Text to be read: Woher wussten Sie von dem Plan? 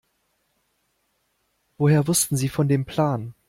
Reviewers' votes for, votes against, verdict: 2, 0, accepted